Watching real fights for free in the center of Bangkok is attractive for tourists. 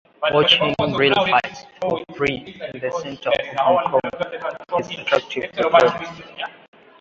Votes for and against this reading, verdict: 0, 2, rejected